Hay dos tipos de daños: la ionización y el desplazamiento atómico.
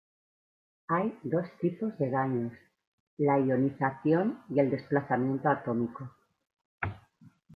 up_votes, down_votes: 2, 0